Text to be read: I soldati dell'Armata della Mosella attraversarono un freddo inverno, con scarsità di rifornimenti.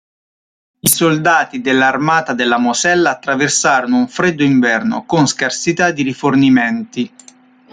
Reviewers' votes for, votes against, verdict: 2, 0, accepted